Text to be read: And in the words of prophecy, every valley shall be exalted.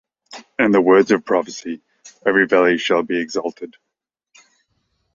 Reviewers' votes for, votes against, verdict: 2, 1, accepted